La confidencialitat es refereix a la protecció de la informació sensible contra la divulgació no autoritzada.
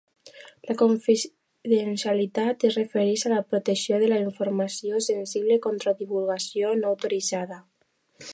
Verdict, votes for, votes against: accepted, 2, 1